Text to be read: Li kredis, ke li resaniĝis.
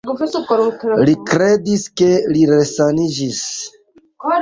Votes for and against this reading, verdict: 2, 1, accepted